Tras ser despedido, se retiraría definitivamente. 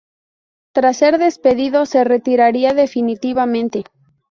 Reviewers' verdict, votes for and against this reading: accepted, 2, 0